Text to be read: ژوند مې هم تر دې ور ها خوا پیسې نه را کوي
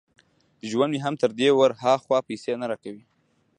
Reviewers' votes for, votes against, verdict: 1, 2, rejected